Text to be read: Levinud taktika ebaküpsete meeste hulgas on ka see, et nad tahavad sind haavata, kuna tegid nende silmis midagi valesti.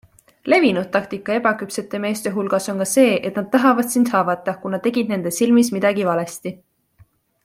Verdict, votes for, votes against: accepted, 2, 0